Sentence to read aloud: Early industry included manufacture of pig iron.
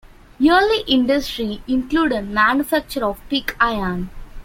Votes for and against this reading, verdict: 1, 2, rejected